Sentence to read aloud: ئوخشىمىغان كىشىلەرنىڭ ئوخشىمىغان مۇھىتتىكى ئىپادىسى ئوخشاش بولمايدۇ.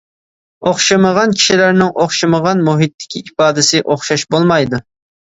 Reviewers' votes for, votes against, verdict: 2, 0, accepted